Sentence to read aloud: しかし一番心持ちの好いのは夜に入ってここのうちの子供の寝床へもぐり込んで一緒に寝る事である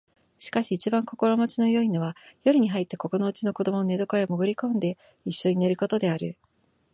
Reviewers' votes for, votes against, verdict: 2, 1, accepted